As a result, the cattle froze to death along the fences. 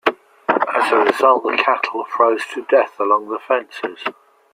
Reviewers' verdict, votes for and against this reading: rejected, 1, 2